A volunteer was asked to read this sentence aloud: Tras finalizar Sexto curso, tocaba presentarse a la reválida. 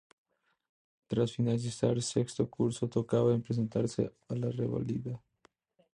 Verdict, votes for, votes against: rejected, 0, 2